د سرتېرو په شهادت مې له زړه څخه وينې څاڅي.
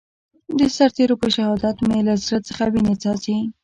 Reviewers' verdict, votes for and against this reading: accepted, 2, 0